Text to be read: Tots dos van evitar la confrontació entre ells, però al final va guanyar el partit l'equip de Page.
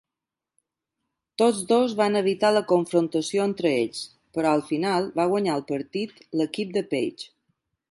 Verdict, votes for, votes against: accepted, 3, 0